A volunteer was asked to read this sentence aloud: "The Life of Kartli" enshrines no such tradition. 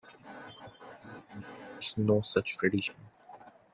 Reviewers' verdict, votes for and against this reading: rejected, 0, 2